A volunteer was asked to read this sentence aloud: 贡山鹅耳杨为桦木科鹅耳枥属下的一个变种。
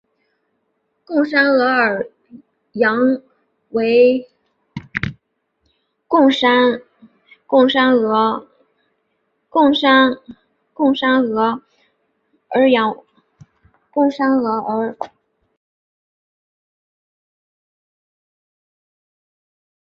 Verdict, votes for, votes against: rejected, 1, 4